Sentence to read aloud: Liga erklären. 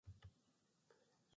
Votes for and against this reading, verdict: 0, 2, rejected